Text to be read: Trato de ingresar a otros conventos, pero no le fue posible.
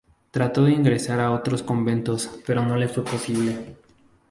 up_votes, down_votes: 4, 0